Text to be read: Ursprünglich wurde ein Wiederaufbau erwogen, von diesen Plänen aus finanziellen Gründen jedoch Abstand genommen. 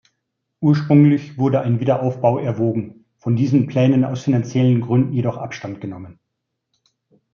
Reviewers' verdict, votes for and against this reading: accepted, 3, 0